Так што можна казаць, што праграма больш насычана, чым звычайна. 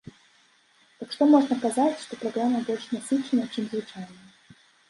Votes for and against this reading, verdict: 2, 0, accepted